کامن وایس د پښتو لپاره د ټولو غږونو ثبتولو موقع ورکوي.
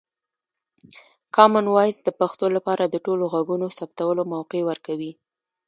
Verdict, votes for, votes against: rejected, 1, 2